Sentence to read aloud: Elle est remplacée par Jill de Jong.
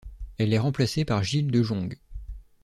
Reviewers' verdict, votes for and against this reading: accepted, 2, 0